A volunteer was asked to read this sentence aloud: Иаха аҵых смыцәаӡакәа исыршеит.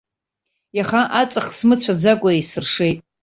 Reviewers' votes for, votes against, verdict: 2, 0, accepted